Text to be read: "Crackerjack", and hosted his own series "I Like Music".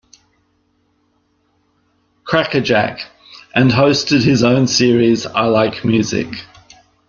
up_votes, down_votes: 2, 0